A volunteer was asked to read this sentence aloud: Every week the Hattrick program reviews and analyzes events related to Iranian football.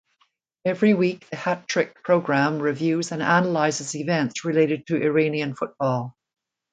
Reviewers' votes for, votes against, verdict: 3, 0, accepted